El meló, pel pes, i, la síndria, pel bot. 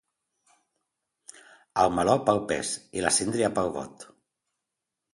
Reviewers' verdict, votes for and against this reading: accepted, 2, 1